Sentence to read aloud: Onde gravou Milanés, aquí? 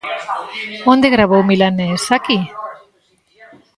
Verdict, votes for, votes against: accepted, 2, 1